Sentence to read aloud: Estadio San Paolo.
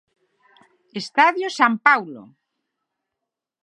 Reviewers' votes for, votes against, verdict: 3, 6, rejected